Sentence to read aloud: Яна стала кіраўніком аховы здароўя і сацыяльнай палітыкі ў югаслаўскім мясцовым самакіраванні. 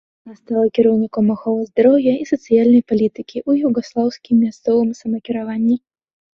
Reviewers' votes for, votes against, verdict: 1, 2, rejected